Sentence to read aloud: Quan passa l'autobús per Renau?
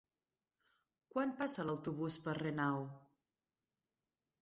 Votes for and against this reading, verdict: 2, 1, accepted